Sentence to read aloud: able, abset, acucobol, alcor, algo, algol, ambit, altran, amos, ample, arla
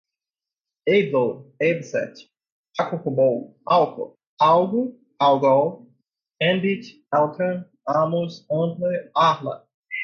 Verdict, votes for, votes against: accepted, 2, 0